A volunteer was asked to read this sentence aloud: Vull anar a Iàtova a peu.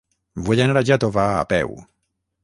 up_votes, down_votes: 0, 6